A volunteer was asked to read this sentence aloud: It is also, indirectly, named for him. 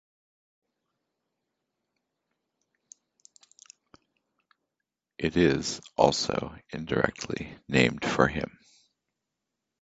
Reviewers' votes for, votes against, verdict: 2, 0, accepted